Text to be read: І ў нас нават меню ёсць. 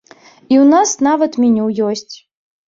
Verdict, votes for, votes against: accepted, 2, 0